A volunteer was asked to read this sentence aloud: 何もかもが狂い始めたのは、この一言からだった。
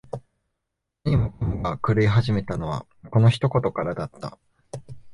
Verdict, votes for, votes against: accepted, 2, 1